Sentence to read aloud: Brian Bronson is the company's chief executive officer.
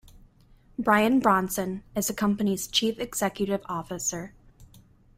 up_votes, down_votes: 2, 0